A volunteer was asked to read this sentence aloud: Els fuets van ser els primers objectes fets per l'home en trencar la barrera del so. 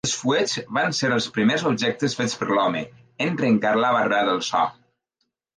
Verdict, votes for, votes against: accepted, 2, 0